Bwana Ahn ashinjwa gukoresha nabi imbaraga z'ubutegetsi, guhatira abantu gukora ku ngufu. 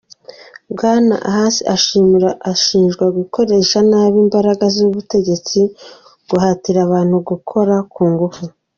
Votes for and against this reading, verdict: 0, 2, rejected